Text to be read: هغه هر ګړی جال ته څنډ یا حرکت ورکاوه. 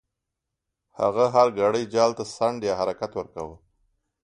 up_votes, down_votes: 3, 1